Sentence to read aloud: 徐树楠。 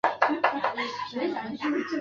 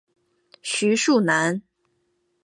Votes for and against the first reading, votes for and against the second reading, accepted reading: 1, 3, 2, 0, second